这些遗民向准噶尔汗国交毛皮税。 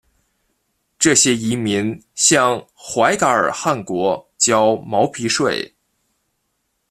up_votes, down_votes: 1, 2